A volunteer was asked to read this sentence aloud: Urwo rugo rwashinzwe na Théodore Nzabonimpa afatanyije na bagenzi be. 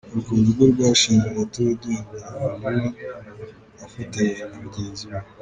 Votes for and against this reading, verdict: 1, 2, rejected